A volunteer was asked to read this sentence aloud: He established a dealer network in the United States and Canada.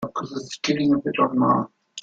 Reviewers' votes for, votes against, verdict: 0, 2, rejected